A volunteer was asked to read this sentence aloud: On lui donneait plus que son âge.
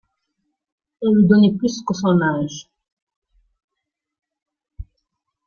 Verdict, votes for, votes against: accepted, 2, 0